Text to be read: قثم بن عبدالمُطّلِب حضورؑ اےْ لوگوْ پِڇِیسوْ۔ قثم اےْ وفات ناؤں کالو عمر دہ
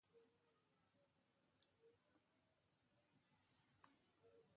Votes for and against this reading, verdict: 1, 2, rejected